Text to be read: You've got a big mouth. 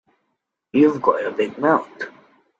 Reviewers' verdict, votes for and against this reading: rejected, 0, 2